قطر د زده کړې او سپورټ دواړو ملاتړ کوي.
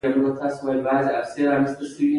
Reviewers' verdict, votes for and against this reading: rejected, 0, 2